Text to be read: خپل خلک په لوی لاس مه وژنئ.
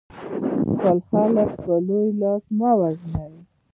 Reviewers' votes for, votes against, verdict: 2, 0, accepted